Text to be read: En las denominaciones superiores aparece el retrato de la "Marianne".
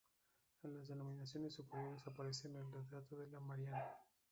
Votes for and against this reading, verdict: 0, 2, rejected